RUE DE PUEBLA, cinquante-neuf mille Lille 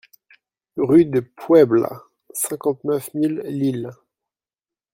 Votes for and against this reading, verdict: 2, 0, accepted